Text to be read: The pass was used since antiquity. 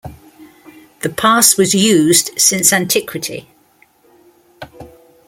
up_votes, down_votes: 2, 0